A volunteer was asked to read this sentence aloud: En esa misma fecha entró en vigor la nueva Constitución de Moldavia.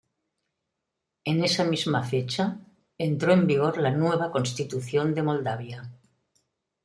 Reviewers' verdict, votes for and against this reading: accepted, 2, 1